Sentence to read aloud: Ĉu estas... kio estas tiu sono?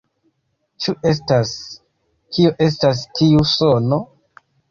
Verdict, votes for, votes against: rejected, 1, 2